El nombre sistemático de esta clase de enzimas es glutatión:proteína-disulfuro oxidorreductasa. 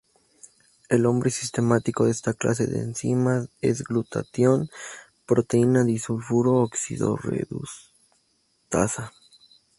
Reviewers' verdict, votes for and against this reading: rejected, 0, 2